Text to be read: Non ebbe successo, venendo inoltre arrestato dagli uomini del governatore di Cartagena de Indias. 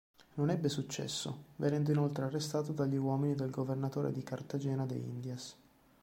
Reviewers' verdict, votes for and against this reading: accepted, 2, 1